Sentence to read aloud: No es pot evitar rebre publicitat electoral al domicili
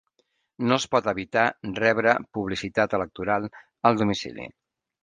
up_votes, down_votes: 3, 0